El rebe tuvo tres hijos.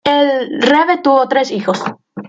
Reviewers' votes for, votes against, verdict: 2, 0, accepted